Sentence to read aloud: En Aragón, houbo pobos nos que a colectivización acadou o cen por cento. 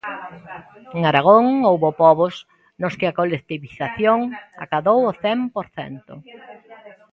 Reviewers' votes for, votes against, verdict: 0, 2, rejected